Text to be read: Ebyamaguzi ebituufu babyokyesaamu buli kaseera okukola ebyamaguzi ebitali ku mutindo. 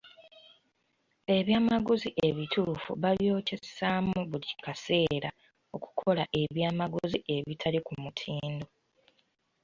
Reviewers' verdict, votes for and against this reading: accepted, 2, 1